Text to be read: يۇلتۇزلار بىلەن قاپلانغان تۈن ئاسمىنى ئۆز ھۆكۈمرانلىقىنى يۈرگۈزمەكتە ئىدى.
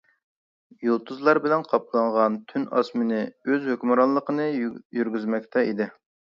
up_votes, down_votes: 1, 2